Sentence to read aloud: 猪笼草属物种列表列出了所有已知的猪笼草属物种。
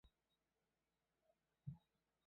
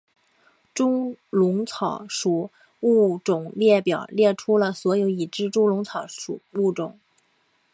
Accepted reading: second